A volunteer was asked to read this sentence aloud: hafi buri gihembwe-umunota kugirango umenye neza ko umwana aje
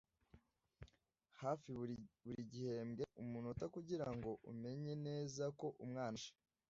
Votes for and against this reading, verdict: 1, 2, rejected